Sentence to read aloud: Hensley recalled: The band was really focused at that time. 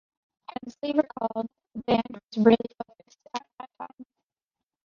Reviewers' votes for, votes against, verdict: 1, 2, rejected